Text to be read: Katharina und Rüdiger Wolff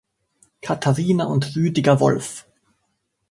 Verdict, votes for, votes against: accepted, 2, 0